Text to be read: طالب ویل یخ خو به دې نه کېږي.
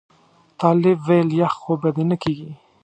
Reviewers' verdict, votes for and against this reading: accepted, 2, 0